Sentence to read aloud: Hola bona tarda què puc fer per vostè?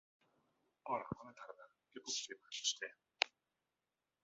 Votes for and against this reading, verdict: 0, 2, rejected